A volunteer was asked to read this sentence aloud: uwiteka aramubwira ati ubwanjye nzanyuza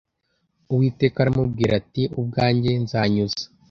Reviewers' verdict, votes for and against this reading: accepted, 2, 0